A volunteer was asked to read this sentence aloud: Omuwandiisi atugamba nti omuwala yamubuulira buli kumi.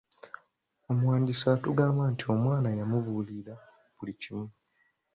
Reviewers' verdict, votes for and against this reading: accepted, 2, 0